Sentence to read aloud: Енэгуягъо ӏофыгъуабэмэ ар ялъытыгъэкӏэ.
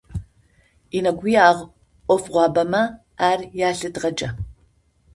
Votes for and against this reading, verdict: 2, 0, accepted